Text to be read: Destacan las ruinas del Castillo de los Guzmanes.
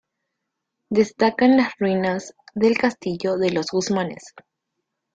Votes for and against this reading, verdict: 2, 0, accepted